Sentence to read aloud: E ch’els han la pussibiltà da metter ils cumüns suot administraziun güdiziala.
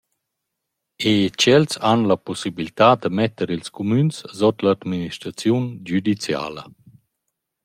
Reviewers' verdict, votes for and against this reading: rejected, 0, 2